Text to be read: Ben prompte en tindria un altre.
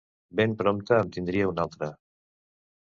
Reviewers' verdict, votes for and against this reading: accepted, 2, 0